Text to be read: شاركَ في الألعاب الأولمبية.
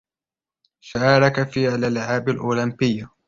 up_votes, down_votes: 0, 2